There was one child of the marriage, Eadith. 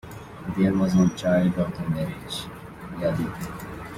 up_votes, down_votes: 1, 2